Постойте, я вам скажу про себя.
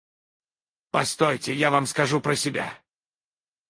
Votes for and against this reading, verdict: 2, 4, rejected